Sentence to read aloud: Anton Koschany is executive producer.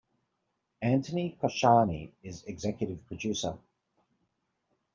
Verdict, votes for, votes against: rejected, 0, 2